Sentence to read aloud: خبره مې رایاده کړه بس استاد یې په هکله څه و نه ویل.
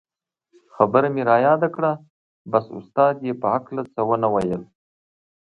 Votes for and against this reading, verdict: 2, 1, accepted